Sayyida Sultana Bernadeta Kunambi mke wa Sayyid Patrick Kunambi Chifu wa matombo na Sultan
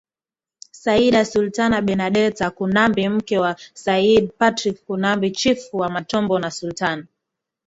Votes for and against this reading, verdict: 2, 0, accepted